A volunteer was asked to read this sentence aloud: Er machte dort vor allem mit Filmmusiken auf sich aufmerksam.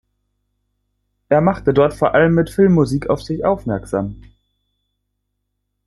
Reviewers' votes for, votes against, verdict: 0, 3, rejected